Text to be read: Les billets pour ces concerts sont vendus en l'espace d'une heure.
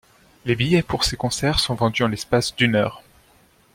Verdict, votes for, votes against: accepted, 2, 0